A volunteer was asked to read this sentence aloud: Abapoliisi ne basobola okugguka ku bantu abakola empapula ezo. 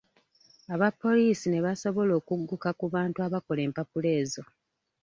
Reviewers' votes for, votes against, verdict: 1, 2, rejected